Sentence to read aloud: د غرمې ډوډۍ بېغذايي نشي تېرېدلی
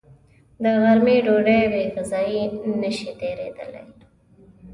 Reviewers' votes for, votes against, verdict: 2, 0, accepted